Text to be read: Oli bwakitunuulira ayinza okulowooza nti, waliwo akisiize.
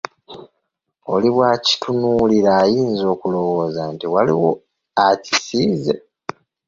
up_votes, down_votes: 1, 2